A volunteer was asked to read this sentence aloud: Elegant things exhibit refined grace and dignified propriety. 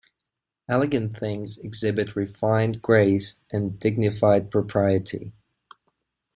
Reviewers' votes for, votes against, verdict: 2, 0, accepted